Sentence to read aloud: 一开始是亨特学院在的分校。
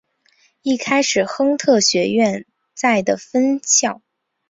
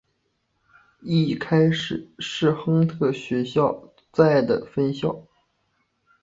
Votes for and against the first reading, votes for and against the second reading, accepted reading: 4, 3, 1, 2, first